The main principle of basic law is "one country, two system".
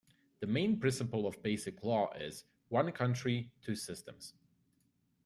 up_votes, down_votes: 0, 2